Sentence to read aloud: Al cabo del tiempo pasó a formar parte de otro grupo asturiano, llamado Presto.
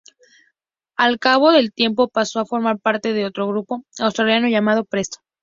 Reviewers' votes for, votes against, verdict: 2, 0, accepted